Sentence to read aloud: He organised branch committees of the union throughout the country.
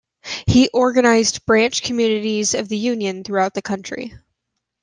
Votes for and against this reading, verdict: 0, 2, rejected